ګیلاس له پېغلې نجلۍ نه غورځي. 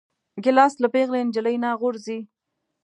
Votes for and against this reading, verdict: 2, 0, accepted